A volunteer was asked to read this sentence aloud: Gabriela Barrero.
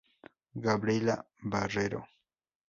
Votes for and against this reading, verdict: 2, 0, accepted